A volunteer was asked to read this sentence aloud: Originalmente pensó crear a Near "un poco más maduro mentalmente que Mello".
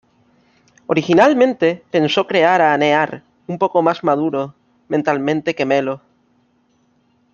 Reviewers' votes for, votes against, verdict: 1, 2, rejected